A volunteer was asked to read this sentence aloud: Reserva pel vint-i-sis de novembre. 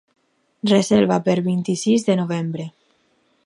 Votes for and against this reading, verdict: 2, 2, rejected